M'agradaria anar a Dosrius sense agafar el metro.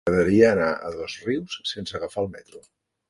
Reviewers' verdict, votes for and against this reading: rejected, 1, 2